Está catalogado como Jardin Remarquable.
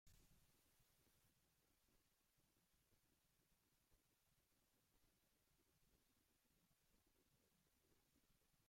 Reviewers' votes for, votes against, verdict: 0, 2, rejected